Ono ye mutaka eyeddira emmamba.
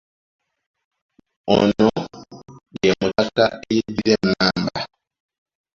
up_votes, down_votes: 0, 2